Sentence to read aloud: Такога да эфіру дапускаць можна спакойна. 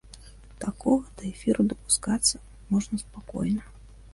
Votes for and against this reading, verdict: 0, 2, rejected